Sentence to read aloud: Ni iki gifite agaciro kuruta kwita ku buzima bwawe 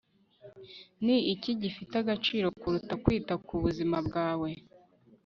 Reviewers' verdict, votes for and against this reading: accepted, 2, 0